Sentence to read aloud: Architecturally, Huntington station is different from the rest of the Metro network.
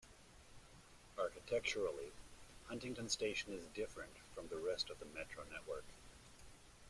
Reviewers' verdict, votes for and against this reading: accepted, 2, 1